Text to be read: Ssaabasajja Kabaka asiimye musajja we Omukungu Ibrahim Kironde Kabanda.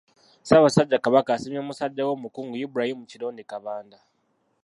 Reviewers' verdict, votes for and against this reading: rejected, 0, 2